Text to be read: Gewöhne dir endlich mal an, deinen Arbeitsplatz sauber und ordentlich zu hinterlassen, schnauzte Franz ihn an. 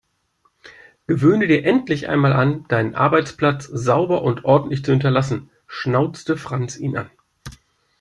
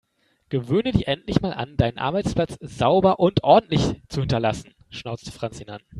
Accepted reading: second